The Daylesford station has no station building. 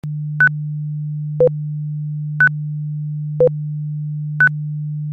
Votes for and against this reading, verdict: 0, 2, rejected